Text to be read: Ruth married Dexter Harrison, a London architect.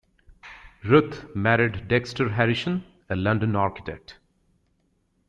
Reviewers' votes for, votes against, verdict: 1, 2, rejected